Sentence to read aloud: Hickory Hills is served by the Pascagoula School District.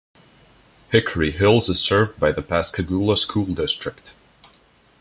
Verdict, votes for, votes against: accepted, 2, 0